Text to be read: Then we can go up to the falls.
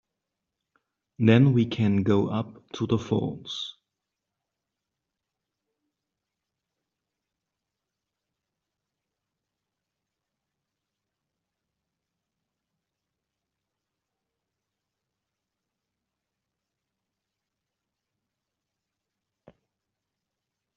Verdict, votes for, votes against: rejected, 1, 2